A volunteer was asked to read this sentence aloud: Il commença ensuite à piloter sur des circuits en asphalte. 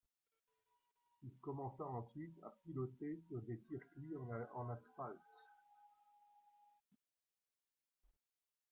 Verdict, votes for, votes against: rejected, 0, 2